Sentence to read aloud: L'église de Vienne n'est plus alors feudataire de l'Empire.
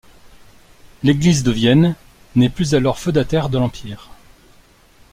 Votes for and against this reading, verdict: 2, 1, accepted